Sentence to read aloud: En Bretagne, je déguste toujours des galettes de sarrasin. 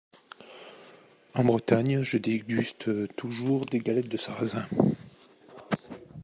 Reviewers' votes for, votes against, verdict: 2, 0, accepted